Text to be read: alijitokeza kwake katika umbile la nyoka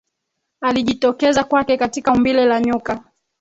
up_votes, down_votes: 2, 3